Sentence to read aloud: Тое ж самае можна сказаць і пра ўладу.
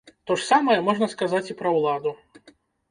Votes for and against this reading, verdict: 1, 2, rejected